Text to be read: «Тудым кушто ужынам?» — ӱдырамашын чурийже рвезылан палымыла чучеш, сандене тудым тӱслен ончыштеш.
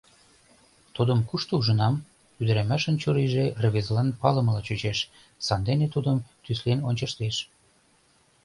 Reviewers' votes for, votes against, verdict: 2, 0, accepted